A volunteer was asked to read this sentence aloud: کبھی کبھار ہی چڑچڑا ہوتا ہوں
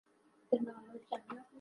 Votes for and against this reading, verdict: 4, 8, rejected